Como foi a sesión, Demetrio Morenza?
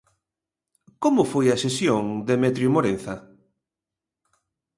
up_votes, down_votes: 2, 0